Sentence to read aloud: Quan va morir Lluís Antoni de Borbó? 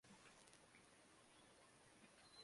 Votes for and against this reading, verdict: 0, 2, rejected